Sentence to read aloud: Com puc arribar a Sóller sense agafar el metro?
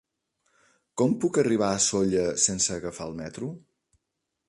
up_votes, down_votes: 3, 0